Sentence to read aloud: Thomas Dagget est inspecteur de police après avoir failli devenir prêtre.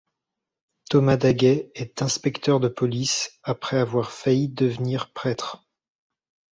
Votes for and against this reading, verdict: 1, 2, rejected